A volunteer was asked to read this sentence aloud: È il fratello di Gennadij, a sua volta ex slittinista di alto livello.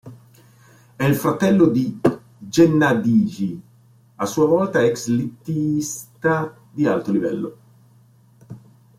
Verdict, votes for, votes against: rejected, 0, 2